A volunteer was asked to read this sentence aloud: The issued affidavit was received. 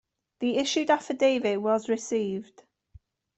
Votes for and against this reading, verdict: 2, 0, accepted